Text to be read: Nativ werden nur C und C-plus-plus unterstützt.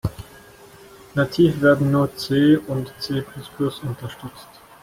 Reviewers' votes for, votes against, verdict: 2, 1, accepted